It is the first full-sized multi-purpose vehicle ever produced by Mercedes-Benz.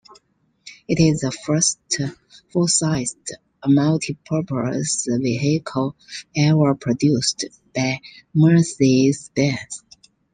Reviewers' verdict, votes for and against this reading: rejected, 0, 2